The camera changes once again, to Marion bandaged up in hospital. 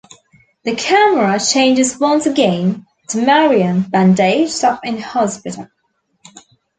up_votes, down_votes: 2, 1